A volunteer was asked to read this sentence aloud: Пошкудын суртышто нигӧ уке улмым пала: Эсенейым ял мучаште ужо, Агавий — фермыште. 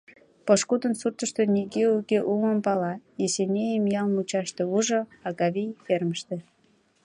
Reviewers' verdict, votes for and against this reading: rejected, 1, 2